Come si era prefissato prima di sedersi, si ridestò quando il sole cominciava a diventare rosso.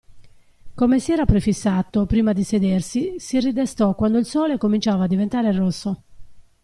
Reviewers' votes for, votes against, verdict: 2, 0, accepted